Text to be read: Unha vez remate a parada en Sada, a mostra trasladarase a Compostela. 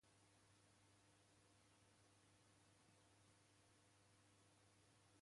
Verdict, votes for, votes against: rejected, 0, 2